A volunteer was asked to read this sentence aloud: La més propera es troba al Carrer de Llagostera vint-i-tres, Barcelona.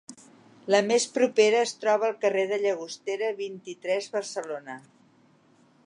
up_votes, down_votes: 3, 0